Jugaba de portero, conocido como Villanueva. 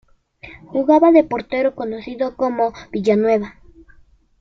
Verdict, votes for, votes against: accepted, 2, 1